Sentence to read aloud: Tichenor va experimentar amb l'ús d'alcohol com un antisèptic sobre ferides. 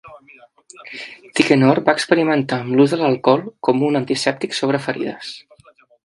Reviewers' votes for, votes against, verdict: 2, 0, accepted